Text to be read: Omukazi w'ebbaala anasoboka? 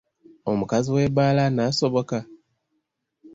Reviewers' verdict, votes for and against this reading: accepted, 2, 0